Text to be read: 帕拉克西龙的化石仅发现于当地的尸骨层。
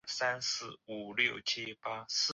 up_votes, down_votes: 1, 3